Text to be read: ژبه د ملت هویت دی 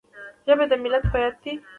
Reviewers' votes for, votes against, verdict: 2, 1, accepted